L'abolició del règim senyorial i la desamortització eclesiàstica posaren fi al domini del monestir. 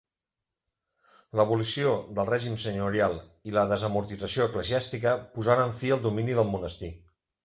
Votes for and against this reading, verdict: 2, 0, accepted